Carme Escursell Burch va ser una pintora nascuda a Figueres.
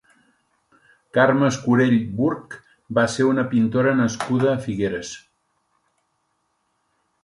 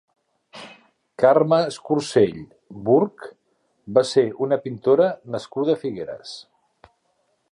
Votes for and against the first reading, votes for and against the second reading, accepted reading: 1, 2, 3, 0, second